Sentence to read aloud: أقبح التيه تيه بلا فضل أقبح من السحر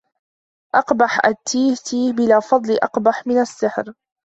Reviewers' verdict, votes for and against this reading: rejected, 1, 2